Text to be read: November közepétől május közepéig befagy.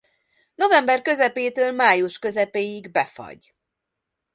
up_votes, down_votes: 2, 0